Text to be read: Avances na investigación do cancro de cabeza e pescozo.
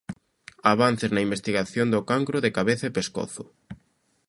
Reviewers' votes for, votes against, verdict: 2, 0, accepted